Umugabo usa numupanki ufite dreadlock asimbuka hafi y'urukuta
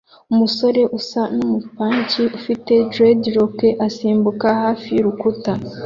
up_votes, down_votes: 0, 2